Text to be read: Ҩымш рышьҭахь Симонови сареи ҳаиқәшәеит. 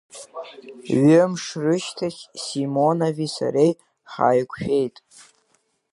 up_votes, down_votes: 2, 0